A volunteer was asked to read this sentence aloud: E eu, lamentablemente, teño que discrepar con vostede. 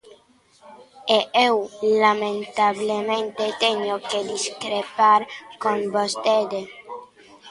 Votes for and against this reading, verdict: 1, 2, rejected